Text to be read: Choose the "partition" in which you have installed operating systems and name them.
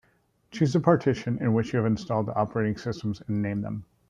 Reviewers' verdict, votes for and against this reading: accepted, 2, 0